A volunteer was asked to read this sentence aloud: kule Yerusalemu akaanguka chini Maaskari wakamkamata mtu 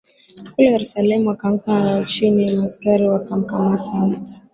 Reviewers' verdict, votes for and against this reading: accepted, 2, 0